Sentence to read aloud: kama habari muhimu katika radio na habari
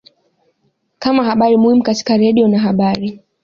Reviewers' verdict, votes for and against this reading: accepted, 2, 0